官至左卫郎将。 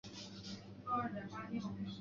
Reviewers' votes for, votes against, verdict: 2, 3, rejected